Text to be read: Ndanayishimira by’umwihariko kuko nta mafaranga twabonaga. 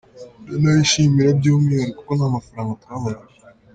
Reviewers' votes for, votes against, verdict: 2, 1, accepted